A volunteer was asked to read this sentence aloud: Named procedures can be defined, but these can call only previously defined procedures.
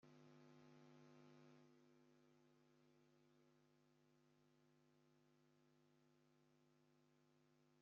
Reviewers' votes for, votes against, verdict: 0, 2, rejected